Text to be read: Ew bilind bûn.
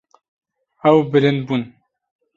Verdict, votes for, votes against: accepted, 2, 0